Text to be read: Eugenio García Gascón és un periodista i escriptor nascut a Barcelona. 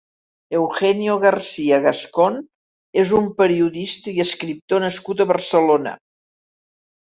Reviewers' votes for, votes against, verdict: 3, 0, accepted